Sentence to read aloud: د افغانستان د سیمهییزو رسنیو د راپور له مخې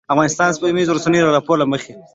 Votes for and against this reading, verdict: 1, 2, rejected